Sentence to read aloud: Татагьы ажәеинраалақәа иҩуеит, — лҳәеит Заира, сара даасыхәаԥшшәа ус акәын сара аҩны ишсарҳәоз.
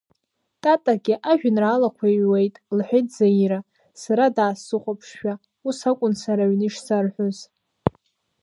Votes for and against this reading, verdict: 1, 2, rejected